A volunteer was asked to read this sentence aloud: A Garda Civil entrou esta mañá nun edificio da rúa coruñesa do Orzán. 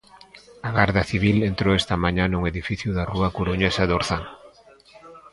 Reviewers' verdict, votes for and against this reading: rejected, 1, 2